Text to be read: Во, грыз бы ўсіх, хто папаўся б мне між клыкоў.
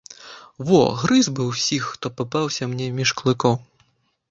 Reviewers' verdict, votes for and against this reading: rejected, 1, 3